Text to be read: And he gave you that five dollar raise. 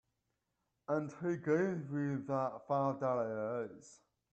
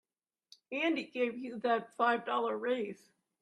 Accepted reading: second